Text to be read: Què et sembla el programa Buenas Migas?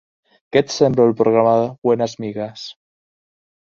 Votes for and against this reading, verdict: 1, 2, rejected